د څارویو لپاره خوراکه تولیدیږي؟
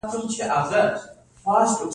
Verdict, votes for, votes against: rejected, 1, 2